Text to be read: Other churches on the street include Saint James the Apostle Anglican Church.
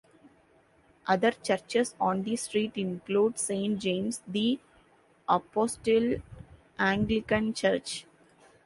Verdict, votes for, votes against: accepted, 2, 0